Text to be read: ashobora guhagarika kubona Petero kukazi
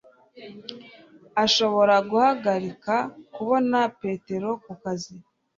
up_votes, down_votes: 2, 0